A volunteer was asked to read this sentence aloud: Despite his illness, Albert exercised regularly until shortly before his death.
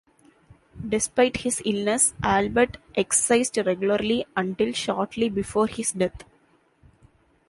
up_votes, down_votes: 2, 0